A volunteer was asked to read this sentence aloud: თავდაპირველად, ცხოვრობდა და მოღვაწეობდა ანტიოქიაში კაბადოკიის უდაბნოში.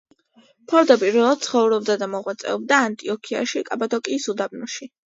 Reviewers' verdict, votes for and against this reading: accepted, 3, 0